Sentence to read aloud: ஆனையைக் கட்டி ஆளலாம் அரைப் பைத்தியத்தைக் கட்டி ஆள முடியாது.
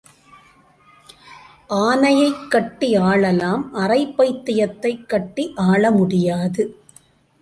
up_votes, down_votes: 2, 0